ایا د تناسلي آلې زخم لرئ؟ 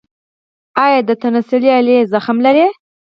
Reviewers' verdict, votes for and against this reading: rejected, 2, 4